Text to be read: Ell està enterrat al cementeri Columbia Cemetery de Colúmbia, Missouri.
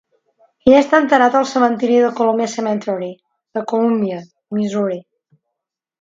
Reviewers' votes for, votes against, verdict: 2, 0, accepted